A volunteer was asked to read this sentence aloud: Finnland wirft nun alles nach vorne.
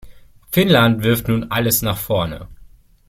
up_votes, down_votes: 2, 0